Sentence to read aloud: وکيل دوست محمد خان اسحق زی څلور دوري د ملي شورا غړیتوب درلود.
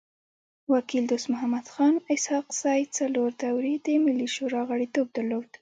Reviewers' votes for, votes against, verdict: 2, 0, accepted